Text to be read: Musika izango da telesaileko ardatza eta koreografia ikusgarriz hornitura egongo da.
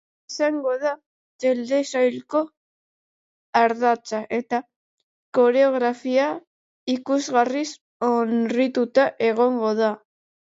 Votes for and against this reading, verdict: 0, 3, rejected